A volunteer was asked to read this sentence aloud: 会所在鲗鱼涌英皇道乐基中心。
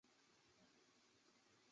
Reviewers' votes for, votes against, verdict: 1, 3, rejected